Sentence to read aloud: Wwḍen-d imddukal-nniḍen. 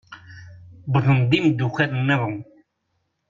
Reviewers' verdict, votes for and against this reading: rejected, 1, 2